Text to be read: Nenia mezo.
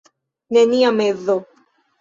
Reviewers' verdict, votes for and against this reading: rejected, 1, 2